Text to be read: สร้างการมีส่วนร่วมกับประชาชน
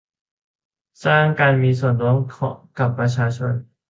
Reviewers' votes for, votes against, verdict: 0, 2, rejected